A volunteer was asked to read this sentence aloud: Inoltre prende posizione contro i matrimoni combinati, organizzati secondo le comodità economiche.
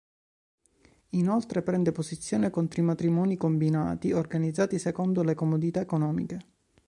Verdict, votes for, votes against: accepted, 2, 0